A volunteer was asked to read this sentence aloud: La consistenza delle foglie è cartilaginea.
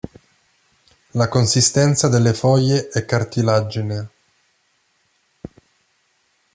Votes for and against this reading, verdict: 0, 2, rejected